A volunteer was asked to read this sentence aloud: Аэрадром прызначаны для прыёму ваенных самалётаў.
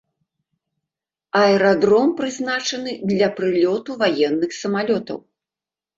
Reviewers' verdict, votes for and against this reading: rejected, 1, 2